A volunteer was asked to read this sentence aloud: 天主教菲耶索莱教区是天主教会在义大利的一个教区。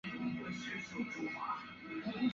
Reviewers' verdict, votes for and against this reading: rejected, 0, 4